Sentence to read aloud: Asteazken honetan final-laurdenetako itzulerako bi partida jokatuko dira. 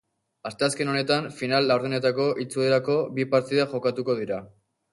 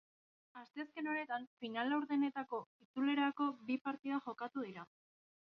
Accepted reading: first